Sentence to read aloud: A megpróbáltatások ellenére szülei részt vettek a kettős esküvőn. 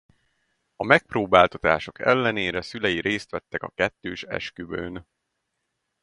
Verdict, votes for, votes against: accepted, 4, 0